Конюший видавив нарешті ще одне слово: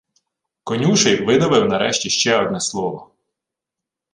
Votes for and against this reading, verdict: 2, 0, accepted